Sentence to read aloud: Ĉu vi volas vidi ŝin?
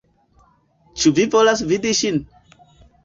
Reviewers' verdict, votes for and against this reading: accepted, 2, 1